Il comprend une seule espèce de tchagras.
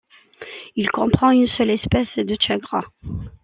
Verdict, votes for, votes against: accepted, 2, 0